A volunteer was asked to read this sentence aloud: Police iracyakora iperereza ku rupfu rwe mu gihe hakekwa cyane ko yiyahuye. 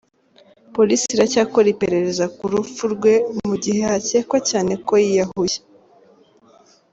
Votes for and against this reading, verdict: 2, 0, accepted